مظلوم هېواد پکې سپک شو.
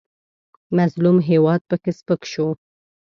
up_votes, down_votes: 2, 0